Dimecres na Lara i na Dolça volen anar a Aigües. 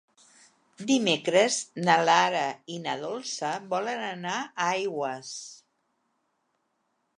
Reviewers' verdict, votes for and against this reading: accepted, 2, 0